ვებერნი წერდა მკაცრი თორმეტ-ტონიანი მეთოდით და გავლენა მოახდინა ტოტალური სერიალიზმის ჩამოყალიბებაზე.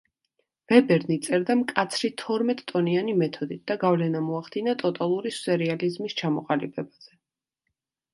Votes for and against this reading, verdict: 3, 0, accepted